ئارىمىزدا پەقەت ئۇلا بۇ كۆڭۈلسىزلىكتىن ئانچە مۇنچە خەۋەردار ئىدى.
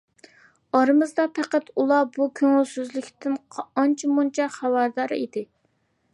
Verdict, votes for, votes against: accepted, 2, 0